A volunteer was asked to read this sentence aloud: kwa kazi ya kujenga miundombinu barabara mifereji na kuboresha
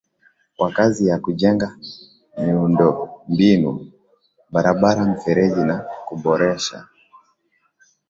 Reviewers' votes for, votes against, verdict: 2, 3, rejected